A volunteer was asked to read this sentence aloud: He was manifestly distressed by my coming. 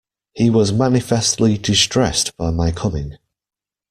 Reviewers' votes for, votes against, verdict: 2, 0, accepted